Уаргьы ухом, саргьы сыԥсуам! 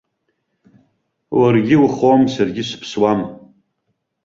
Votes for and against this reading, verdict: 2, 0, accepted